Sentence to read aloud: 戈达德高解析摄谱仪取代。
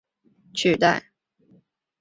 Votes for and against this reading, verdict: 2, 6, rejected